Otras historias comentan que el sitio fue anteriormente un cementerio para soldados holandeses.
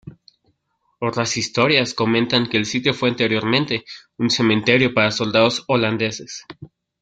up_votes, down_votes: 2, 0